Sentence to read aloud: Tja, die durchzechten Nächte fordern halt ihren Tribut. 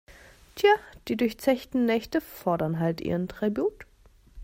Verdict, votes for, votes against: accepted, 2, 0